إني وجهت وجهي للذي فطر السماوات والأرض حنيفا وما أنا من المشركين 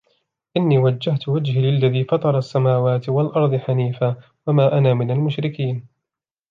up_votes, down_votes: 2, 0